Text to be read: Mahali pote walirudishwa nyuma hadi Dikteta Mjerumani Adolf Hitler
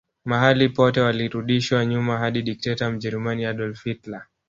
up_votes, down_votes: 1, 2